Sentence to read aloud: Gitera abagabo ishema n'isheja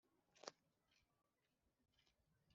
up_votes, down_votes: 2, 0